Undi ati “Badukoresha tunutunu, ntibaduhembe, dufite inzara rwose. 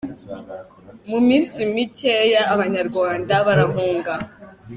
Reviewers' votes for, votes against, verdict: 0, 2, rejected